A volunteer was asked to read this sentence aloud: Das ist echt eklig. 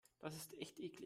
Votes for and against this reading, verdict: 2, 1, accepted